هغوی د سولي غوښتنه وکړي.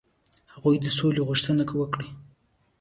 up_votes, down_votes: 2, 1